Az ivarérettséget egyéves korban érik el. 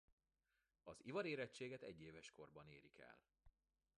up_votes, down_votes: 0, 2